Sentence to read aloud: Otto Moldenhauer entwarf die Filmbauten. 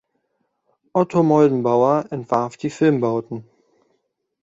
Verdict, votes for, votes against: rejected, 0, 2